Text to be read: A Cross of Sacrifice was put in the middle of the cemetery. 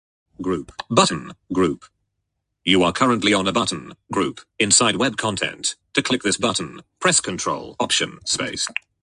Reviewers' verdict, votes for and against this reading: rejected, 0, 6